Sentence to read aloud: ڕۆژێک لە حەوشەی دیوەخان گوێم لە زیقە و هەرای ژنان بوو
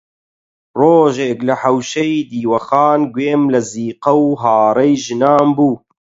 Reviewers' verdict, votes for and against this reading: rejected, 4, 8